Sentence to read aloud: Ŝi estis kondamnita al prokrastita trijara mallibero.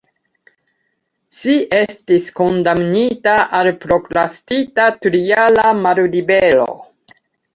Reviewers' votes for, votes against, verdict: 2, 1, accepted